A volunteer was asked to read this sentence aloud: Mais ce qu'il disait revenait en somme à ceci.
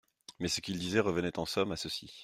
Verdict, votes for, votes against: accepted, 2, 0